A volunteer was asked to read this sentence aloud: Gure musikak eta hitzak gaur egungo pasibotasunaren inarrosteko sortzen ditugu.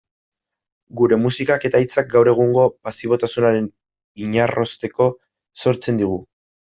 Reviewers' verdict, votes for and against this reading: rejected, 0, 2